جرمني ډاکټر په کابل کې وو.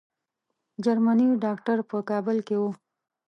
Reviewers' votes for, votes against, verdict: 3, 0, accepted